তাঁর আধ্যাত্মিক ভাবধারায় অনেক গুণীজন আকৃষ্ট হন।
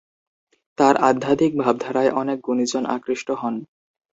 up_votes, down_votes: 2, 0